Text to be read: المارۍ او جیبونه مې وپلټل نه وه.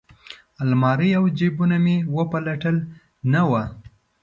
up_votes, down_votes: 2, 0